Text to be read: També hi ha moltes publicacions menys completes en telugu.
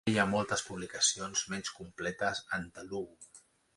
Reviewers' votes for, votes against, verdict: 0, 2, rejected